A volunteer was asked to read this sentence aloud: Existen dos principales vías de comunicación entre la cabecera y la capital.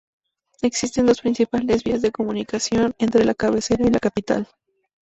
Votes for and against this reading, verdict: 2, 0, accepted